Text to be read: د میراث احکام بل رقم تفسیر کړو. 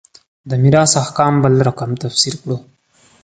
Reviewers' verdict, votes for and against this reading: accepted, 2, 0